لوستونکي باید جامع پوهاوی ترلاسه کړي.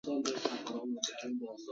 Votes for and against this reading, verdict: 0, 2, rejected